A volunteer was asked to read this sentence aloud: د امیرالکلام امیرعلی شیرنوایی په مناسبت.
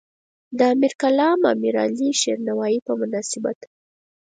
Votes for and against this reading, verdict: 4, 2, accepted